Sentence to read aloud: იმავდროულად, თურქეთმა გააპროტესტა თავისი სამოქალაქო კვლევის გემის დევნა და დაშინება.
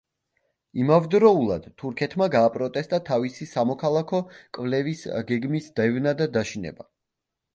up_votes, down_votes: 0, 2